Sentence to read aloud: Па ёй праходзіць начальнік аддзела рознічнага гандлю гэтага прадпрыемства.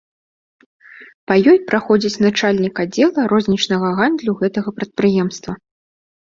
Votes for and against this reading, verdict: 2, 0, accepted